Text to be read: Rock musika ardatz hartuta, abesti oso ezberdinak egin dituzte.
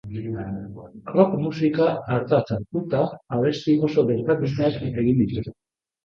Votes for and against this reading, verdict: 0, 2, rejected